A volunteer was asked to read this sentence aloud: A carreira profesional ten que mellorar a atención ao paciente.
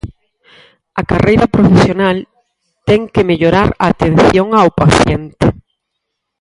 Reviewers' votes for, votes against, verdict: 2, 4, rejected